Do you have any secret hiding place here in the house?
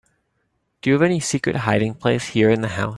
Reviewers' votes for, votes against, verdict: 2, 3, rejected